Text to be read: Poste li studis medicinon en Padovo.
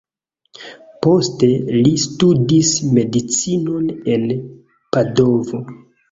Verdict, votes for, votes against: rejected, 1, 2